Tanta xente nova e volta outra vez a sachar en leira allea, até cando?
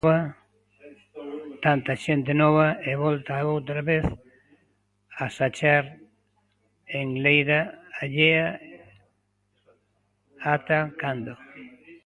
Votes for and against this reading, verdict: 0, 2, rejected